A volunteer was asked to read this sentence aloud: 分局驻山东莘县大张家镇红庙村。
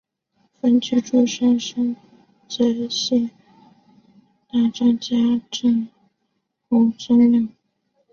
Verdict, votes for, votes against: rejected, 0, 2